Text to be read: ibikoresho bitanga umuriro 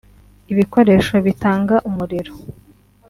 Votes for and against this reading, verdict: 2, 0, accepted